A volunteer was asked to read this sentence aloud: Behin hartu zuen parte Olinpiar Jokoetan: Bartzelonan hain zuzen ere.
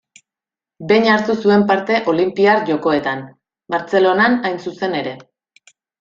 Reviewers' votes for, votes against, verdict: 2, 0, accepted